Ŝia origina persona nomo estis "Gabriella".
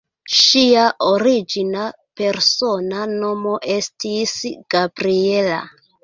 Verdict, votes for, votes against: rejected, 0, 2